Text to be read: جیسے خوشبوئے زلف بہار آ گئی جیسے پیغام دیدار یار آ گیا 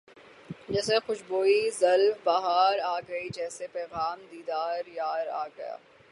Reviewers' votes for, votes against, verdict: 3, 3, rejected